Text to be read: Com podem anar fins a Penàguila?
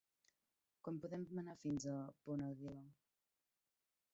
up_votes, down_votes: 0, 2